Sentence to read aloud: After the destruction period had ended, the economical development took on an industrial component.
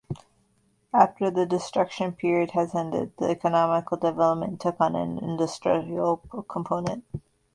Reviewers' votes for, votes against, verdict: 0, 2, rejected